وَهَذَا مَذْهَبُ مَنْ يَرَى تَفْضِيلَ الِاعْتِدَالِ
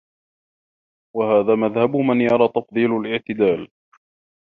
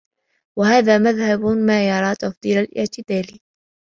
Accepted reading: first